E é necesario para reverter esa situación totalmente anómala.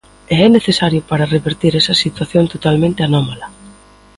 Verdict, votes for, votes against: accepted, 2, 0